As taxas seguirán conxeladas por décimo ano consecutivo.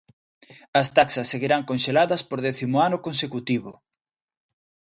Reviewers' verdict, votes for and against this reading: rejected, 0, 2